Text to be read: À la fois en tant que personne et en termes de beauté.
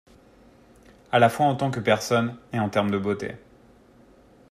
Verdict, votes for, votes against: accepted, 2, 0